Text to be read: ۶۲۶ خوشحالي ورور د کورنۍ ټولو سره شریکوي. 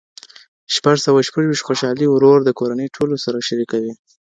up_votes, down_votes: 0, 2